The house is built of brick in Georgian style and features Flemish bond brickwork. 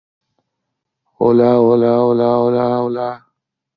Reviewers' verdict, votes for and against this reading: rejected, 0, 2